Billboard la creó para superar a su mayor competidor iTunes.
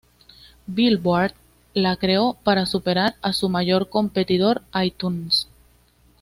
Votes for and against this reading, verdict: 2, 0, accepted